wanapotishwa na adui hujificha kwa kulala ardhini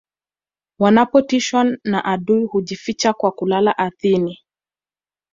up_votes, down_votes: 2, 0